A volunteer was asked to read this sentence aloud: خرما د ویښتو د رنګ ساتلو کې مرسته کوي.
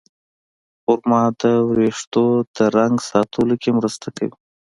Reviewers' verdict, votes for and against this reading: accepted, 2, 0